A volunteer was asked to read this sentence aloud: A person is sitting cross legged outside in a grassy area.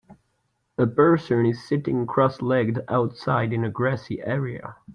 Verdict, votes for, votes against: accepted, 3, 0